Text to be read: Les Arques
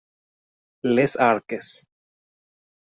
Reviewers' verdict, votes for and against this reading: rejected, 0, 2